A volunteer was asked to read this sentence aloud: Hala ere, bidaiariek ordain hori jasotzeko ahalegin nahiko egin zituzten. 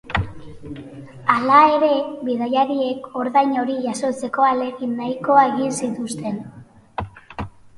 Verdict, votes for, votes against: rejected, 0, 2